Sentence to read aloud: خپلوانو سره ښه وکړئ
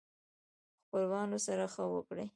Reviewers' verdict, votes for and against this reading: accepted, 2, 1